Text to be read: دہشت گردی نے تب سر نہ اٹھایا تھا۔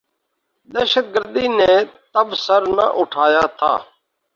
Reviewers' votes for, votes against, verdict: 2, 0, accepted